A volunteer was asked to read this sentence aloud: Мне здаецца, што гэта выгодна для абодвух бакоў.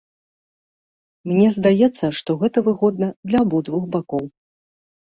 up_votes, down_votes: 2, 0